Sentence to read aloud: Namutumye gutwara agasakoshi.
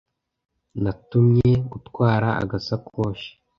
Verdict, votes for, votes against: rejected, 1, 2